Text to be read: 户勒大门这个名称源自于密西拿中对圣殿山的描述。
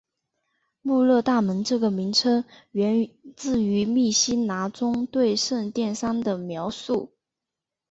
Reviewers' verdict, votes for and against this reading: accepted, 2, 1